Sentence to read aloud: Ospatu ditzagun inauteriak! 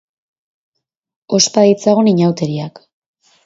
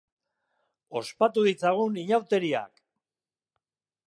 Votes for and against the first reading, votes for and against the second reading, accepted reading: 0, 2, 2, 0, second